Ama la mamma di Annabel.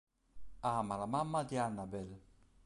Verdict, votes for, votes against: accepted, 2, 0